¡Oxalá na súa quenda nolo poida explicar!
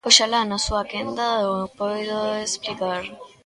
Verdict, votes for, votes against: rejected, 0, 2